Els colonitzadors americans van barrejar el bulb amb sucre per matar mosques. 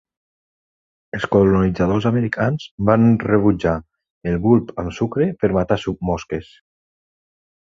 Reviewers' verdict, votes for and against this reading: rejected, 0, 3